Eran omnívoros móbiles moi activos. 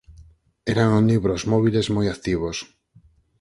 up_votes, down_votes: 2, 4